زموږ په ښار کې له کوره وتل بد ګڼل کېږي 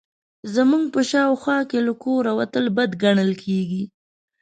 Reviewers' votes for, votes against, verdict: 1, 3, rejected